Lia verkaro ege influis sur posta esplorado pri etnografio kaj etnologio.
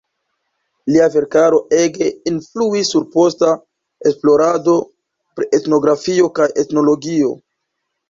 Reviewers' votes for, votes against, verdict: 2, 0, accepted